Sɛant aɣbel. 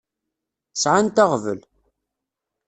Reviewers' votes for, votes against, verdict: 2, 0, accepted